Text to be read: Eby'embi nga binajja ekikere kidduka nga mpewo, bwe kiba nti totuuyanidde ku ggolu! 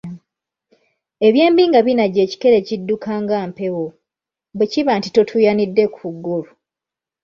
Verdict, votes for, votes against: accepted, 2, 0